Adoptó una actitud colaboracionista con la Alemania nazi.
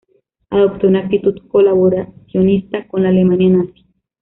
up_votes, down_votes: 0, 2